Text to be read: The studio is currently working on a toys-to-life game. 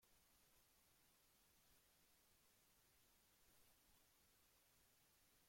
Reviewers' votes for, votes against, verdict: 0, 2, rejected